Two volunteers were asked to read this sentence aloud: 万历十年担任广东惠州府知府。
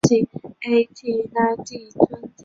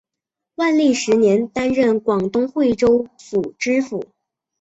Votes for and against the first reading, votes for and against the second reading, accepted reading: 0, 2, 2, 0, second